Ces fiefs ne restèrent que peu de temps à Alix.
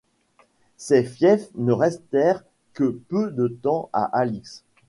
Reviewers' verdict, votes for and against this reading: accepted, 2, 1